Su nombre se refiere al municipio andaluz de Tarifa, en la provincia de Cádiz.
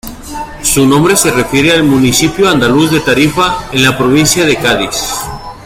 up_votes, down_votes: 2, 0